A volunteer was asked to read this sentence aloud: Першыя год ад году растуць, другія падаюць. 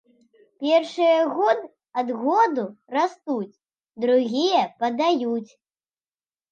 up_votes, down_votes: 1, 2